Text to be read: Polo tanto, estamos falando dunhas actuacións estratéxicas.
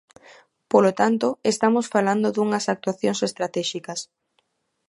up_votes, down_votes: 2, 0